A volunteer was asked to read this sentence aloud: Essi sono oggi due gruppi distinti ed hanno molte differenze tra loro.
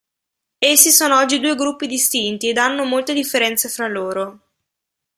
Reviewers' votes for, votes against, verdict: 1, 2, rejected